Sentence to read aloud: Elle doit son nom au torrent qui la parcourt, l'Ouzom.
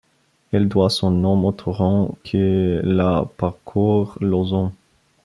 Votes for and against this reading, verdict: 1, 2, rejected